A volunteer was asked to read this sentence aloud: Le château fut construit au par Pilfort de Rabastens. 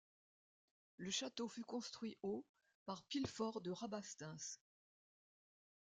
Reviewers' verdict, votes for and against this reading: rejected, 0, 2